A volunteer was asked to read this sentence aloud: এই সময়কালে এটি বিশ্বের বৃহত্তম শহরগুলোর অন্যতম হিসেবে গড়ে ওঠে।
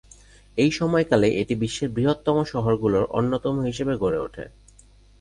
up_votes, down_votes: 2, 0